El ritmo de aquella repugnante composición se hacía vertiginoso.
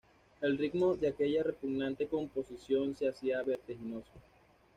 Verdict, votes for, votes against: accepted, 2, 0